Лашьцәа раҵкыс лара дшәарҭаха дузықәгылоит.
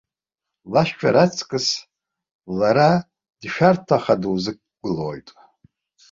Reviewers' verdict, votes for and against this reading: rejected, 1, 2